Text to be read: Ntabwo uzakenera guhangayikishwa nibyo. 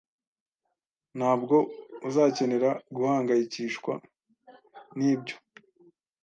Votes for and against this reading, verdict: 2, 0, accepted